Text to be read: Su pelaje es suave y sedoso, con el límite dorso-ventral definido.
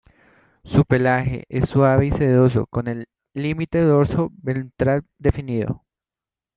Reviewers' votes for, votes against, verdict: 0, 2, rejected